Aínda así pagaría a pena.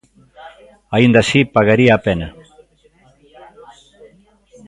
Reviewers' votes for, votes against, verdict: 1, 2, rejected